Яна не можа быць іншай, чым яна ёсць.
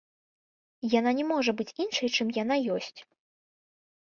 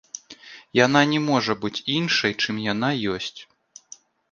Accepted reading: second